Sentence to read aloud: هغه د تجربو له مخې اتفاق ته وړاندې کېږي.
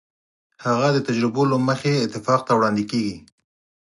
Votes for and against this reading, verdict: 4, 0, accepted